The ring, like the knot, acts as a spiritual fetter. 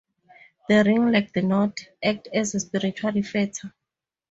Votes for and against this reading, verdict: 0, 12, rejected